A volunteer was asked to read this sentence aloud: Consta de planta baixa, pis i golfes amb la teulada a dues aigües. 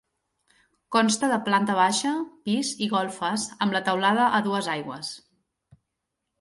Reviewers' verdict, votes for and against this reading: accepted, 4, 0